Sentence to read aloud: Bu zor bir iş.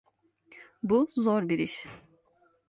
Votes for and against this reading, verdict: 2, 0, accepted